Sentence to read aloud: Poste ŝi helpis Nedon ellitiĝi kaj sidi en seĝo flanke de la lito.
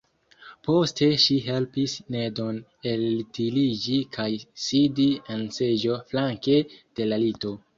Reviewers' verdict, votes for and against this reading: rejected, 0, 2